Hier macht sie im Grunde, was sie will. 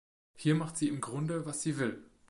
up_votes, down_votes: 2, 0